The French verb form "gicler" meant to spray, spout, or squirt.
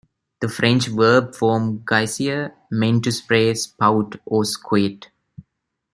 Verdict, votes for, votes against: rejected, 0, 2